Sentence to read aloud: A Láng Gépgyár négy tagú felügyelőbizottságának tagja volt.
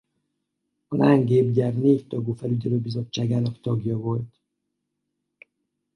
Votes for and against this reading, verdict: 2, 2, rejected